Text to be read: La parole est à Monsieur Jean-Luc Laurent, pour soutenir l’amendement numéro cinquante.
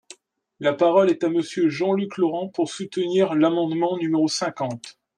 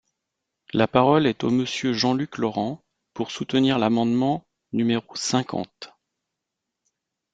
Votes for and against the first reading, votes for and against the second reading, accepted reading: 2, 0, 0, 2, first